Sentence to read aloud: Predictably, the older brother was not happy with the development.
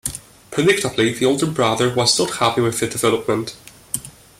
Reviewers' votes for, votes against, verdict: 2, 0, accepted